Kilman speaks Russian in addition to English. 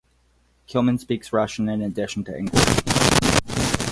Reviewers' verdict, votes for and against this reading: rejected, 0, 4